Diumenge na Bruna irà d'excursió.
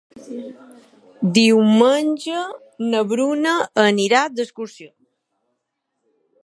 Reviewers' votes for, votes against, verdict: 0, 2, rejected